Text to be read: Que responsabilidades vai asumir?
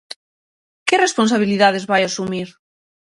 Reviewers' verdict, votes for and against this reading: accepted, 6, 0